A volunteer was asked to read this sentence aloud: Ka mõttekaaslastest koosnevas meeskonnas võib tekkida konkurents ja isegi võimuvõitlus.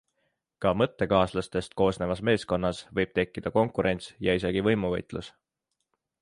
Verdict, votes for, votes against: accepted, 2, 0